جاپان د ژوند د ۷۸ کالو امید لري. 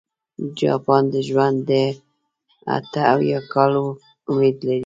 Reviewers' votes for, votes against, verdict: 0, 2, rejected